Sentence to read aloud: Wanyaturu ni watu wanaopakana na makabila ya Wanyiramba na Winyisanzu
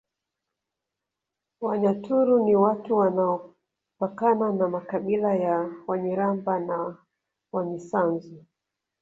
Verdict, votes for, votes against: rejected, 0, 2